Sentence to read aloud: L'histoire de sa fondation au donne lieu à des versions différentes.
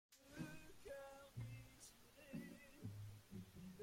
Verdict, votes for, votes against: rejected, 0, 2